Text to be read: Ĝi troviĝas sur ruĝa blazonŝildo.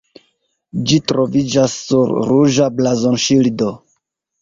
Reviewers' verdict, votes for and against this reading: rejected, 0, 2